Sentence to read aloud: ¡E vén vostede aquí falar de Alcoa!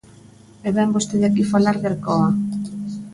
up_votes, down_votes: 2, 0